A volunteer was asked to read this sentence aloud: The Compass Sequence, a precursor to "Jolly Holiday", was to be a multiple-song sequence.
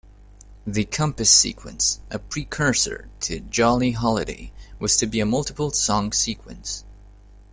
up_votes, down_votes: 2, 0